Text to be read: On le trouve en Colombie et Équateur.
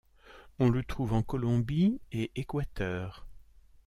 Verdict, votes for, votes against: accepted, 2, 0